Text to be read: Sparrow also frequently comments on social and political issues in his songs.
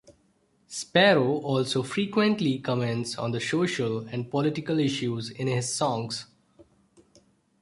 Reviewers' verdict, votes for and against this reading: rejected, 0, 2